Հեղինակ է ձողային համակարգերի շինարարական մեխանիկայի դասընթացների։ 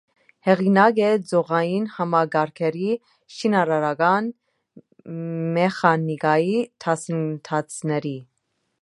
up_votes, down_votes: 0, 2